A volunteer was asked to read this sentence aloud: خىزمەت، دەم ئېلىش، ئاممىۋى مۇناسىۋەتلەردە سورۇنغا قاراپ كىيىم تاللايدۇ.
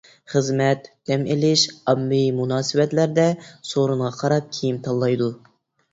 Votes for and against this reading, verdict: 2, 0, accepted